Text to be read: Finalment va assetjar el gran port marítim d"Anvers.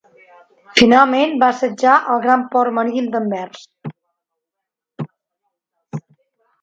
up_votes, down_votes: 0, 2